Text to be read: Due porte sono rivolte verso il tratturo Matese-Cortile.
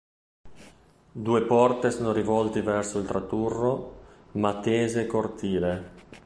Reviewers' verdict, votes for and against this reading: rejected, 0, 2